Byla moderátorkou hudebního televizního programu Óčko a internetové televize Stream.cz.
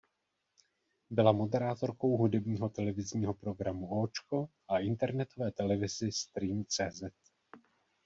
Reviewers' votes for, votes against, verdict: 0, 2, rejected